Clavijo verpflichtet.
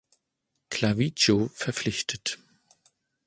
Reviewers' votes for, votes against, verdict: 2, 0, accepted